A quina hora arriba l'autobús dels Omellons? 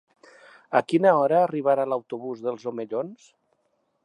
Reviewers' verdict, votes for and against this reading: accepted, 2, 1